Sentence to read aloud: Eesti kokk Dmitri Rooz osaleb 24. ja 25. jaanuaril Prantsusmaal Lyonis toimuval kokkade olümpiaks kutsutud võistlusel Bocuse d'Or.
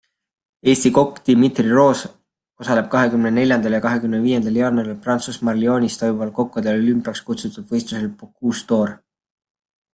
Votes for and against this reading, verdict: 0, 2, rejected